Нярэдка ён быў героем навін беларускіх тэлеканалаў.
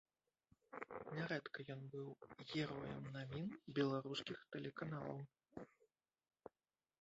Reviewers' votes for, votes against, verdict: 0, 2, rejected